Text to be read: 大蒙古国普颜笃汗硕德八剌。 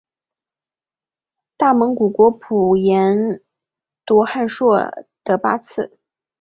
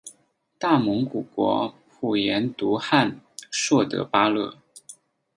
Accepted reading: first